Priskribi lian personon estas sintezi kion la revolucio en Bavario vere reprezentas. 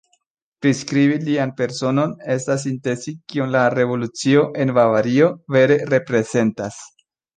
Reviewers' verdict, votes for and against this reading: accepted, 2, 0